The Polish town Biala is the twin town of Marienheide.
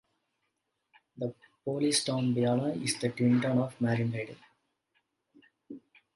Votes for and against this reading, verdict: 1, 2, rejected